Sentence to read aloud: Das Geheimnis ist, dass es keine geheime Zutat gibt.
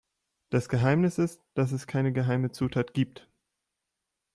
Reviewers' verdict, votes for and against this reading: accepted, 2, 0